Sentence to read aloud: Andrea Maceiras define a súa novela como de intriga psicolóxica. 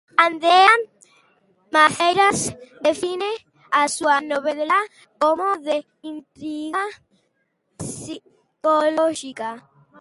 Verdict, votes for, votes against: rejected, 1, 2